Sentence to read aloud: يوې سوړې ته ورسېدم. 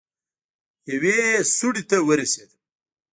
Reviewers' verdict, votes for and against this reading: rejected, 1, 2